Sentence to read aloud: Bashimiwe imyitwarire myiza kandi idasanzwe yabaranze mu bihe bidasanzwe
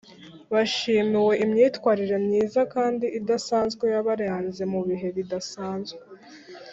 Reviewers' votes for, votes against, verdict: 1, 2, rejected